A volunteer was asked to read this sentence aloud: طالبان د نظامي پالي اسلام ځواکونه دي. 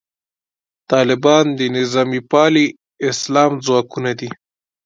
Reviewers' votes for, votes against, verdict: 2, 0, accepted